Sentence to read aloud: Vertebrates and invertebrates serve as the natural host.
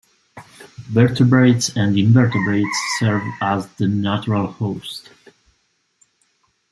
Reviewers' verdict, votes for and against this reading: accepted, 2, 0